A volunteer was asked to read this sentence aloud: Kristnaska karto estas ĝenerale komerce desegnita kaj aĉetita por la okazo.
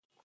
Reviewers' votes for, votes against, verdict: 0, 2, rejected